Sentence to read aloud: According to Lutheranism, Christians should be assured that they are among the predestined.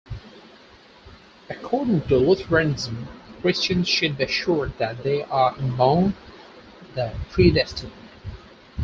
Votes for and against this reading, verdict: 0, 4, rejected